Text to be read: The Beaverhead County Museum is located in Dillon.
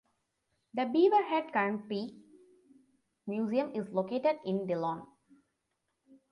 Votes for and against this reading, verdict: 2, 1, accepted